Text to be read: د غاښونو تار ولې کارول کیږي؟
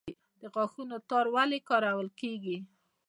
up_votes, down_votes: 2, 0